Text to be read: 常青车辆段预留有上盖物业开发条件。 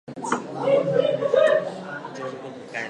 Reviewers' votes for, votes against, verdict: 0, 3, rejected